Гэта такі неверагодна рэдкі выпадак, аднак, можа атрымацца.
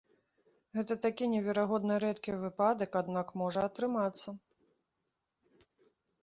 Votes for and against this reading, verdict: 2, 1, accepted